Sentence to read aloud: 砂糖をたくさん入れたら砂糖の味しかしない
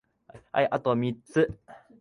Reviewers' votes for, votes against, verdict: 0, 3, rejected